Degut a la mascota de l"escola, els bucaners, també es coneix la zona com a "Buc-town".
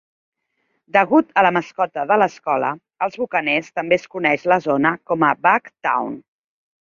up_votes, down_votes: 2, 1